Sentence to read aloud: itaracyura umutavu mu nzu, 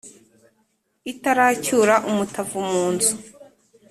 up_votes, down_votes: 2, 0